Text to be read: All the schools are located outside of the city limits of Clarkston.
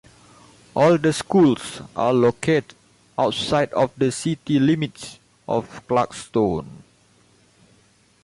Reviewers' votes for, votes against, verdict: 2, 0, accepted